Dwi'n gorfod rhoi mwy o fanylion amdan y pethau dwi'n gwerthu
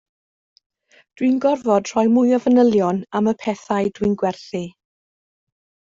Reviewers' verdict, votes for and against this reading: rejected, 0, 2